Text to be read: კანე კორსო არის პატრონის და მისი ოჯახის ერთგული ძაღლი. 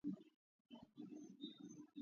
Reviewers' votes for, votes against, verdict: 0, 2, rejected